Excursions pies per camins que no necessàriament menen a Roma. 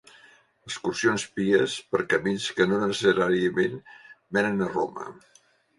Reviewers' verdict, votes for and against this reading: rejected, 1, 2